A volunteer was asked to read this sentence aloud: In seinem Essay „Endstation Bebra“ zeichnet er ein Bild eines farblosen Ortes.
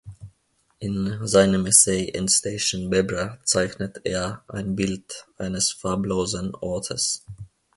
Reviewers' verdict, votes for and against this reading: accepted, 2, 1